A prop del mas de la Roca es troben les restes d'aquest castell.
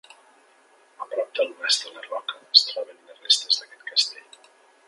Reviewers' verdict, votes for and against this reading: rejected, 0, 2